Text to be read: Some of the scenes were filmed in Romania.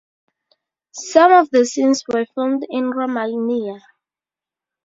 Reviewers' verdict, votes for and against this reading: rejected, 0, 2